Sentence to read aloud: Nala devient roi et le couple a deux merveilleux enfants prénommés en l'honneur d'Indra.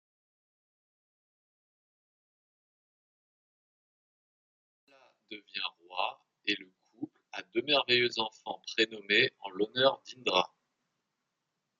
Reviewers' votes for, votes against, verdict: 0, 2, rejected